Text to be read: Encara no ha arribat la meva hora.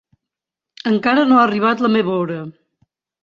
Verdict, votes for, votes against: accepted, 2, 0